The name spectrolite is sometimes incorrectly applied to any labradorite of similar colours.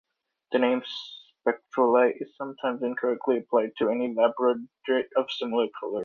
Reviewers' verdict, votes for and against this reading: rejected, 1, 2